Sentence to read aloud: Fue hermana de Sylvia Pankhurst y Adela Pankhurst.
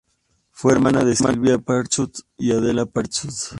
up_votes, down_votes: 0, 2